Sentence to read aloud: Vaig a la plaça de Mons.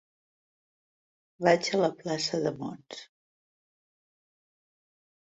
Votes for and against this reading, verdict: 3, 0, accepted